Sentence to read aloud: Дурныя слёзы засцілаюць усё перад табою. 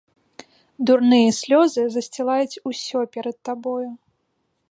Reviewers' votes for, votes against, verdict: 2, 0, accepted